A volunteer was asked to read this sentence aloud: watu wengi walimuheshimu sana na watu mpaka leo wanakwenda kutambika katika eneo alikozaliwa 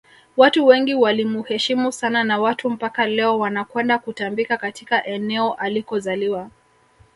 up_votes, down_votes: 2, 0